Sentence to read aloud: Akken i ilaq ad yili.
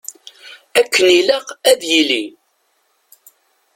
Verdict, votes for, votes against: accepted, 2, 0